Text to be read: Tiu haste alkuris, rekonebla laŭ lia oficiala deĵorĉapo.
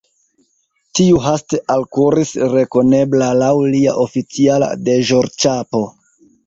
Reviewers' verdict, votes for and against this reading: rejected, 0, 2